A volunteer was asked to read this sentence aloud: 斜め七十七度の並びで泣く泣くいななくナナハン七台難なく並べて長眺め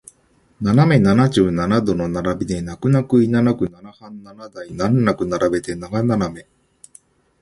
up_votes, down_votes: 1, 2